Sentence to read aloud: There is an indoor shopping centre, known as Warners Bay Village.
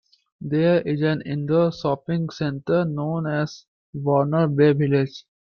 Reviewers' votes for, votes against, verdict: 1, 2, rejected